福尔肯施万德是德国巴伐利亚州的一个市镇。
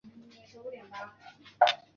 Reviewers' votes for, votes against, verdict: 1, 3, rejected